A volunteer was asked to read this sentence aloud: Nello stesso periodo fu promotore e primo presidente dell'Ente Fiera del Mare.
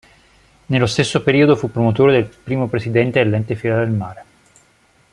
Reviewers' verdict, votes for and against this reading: rejected, 1, 3